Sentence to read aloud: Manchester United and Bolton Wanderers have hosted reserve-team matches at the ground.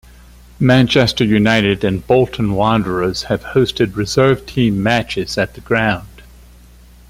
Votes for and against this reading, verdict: 2, 0, accepted